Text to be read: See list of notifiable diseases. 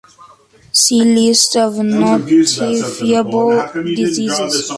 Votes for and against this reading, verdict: 0, 2, rejected